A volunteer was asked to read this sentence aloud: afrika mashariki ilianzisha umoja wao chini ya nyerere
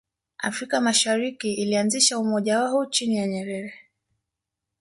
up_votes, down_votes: 2, 1